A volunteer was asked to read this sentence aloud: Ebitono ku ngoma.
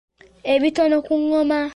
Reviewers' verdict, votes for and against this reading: accepted, 2, 0